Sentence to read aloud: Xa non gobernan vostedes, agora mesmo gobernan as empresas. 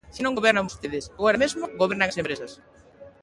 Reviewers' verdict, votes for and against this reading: rejected, 1, 2